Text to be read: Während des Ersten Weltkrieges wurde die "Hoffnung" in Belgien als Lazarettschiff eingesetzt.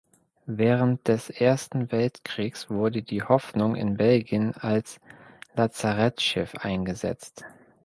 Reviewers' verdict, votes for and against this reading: rejected, 1, 2